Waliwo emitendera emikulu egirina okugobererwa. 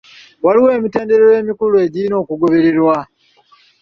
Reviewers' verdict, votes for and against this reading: accepted, 2, 0